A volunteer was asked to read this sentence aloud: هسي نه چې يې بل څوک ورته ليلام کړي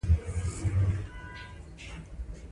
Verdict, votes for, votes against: rejected, 0, 2